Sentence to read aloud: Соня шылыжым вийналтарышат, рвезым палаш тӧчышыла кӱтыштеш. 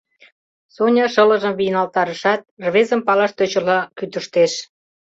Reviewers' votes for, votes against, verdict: 0, 2, rejected